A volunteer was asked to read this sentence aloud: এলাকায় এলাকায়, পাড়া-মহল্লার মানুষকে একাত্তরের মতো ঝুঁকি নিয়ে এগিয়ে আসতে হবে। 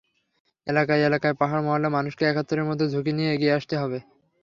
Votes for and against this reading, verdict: 3, 0, accepted